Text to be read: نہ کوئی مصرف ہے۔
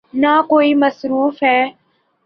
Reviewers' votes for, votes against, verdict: 3, 0, accepted